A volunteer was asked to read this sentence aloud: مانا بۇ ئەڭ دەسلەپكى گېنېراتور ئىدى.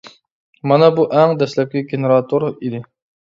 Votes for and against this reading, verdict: 2, 0, accepted